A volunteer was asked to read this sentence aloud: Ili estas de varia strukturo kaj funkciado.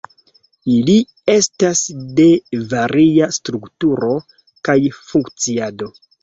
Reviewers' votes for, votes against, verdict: 0, 2, rejected